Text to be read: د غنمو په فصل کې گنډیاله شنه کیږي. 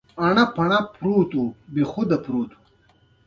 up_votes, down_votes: 2, 0